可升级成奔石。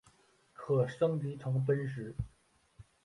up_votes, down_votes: 0, 2